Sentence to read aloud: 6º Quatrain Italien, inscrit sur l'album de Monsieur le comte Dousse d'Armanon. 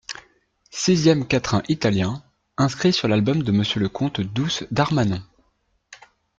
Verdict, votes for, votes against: rejected, 0, 2